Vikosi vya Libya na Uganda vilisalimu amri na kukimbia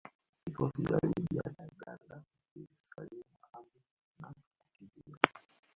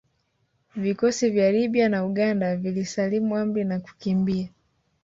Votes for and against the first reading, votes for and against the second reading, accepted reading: 0, 2, 2, 1, second